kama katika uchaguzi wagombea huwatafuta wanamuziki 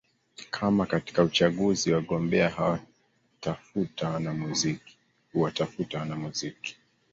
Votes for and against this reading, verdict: 1, 2, rejected